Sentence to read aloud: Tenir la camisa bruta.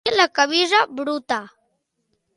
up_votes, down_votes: 0, 2